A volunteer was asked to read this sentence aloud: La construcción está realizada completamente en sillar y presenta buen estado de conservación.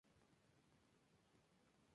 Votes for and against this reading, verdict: 0, 2, rejected